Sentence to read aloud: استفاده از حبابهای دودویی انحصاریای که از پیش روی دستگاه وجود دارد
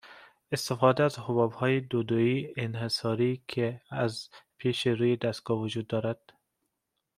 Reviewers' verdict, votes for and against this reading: accepted, 2, 0